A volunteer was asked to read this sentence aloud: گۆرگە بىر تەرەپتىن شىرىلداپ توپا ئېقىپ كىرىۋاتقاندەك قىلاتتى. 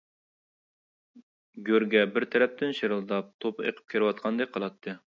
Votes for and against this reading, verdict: 2, 0, accepted